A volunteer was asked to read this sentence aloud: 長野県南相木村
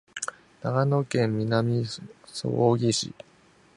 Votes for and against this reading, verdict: 1, 2, rejected